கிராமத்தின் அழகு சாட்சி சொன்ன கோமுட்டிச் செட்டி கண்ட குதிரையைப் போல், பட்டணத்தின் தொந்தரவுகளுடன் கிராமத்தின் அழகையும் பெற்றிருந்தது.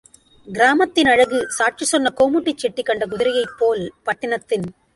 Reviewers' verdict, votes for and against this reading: rejected, 0, 2